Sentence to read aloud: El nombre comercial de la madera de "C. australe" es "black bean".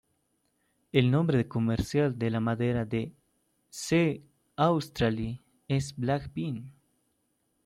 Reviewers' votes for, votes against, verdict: 1, 2, rejected